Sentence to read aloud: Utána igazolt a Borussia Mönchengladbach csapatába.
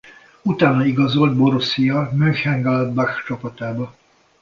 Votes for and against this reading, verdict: 0, 2, rejected